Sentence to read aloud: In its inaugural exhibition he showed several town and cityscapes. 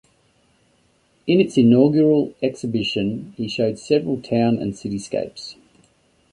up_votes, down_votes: 2, 0